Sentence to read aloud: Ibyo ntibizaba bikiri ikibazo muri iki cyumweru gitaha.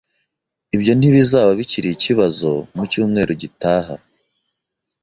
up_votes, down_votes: 0, 2